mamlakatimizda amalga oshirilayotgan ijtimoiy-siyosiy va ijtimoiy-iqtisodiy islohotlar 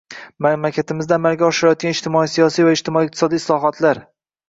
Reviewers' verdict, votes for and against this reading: rejected, 1, 2